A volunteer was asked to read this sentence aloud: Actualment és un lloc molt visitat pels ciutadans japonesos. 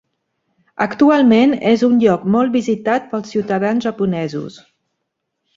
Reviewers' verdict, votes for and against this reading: accepted, 3, 0